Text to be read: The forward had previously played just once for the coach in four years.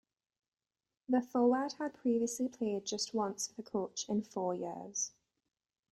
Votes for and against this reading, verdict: 0, 2, rejected